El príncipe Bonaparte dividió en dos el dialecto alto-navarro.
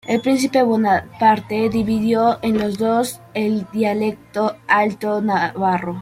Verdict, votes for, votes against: rejected, 0, 2